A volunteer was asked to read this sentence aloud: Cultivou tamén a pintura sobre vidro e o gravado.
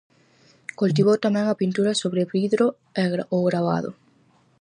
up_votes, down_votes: 2, 2